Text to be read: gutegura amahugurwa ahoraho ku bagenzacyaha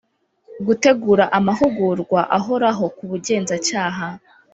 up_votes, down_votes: 1, 2